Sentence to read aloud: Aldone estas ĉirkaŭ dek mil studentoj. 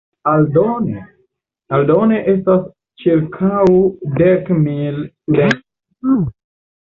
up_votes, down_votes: 1, 2